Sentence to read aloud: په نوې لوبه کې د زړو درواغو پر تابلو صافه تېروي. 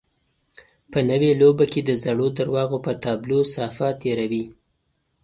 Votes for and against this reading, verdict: 2, 0, accepted